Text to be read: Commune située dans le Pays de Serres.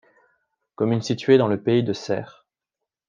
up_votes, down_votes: 2, 0